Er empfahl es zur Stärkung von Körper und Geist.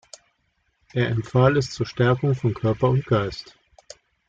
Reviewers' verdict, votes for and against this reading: accepted, 2, 0